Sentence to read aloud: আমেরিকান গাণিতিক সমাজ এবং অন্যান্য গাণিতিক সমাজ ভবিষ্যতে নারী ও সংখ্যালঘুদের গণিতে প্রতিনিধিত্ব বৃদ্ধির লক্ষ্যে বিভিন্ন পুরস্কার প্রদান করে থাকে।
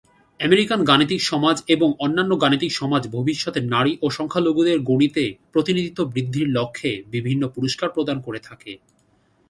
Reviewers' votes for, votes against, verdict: 2, 0, accepted